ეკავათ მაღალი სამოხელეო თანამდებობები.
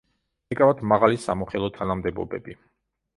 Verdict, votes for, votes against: rejected, 0, 2